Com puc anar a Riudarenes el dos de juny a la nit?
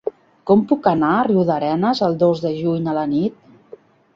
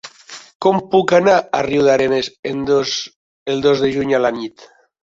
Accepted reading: first